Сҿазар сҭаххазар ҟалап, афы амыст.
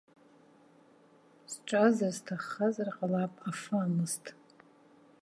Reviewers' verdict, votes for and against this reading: accepted, 2, 1